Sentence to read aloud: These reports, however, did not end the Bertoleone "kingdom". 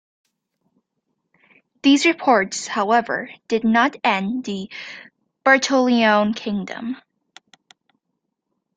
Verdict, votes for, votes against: accepted, 2, 0